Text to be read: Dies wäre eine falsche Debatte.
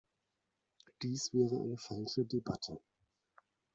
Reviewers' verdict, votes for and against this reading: rejected, 0, 2